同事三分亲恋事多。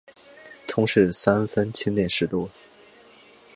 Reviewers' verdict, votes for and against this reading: accepted, 2, 1